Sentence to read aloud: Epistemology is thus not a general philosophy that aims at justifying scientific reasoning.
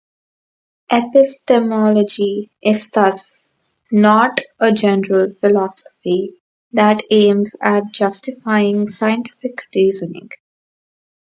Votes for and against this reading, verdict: 0, 2, rejected